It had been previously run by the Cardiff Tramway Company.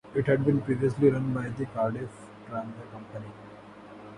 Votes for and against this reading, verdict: 0, 2, rejected